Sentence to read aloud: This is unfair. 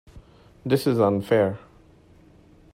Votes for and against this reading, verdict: 3, 0, accepted